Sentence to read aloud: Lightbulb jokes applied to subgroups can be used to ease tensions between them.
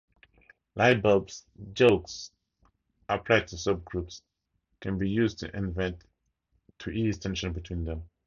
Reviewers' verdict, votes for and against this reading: rejected, 0, 2